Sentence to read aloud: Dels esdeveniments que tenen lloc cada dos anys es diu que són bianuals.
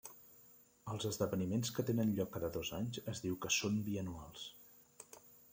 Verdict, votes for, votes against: rejected, 0, 2